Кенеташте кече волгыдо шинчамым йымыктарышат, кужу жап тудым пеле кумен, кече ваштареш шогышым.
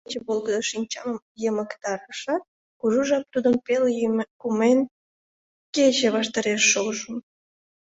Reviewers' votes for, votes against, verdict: 0, 3, rejected